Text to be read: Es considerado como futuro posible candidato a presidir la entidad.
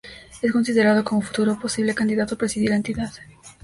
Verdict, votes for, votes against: rejected, 0, 2